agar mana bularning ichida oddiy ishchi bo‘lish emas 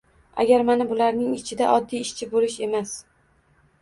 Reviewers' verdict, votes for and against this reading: accepted, 2, 0